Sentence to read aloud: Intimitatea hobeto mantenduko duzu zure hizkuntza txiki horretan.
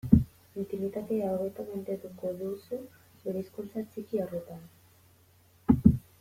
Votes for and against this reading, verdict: 0, 2, rejected